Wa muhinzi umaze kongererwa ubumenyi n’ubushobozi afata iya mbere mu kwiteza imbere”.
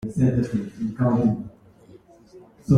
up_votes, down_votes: 0, 3